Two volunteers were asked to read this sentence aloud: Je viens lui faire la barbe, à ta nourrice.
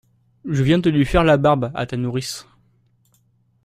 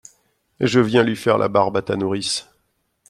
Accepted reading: second